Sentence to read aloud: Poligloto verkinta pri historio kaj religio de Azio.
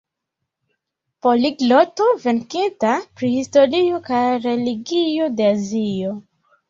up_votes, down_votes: 2, 0